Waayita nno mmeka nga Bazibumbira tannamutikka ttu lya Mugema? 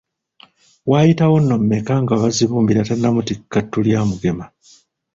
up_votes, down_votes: 1, 2